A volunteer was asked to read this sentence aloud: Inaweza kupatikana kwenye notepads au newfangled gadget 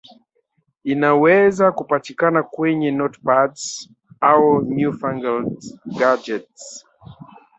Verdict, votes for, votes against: rejected, 1, 2